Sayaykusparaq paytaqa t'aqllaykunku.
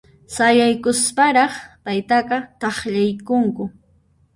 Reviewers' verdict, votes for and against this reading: rejected, 1, 2